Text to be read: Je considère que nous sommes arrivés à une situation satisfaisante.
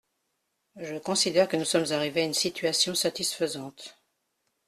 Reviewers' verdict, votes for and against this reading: accepted, 2, 0